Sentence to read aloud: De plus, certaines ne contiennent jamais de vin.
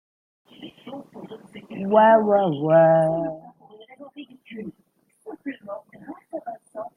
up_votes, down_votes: 0, 2